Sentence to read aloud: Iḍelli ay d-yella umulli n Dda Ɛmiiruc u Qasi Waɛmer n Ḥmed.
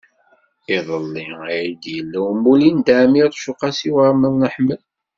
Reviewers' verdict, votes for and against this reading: accepted, 2, 0